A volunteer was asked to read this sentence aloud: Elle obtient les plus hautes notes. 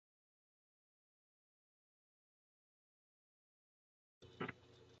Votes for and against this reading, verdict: 0, 2, rejected